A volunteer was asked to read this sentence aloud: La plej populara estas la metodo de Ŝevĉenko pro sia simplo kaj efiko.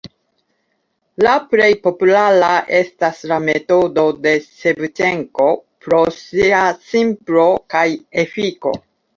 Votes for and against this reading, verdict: 2, 3, rejected